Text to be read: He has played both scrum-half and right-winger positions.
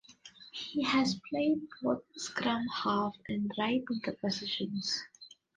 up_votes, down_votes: 1, 2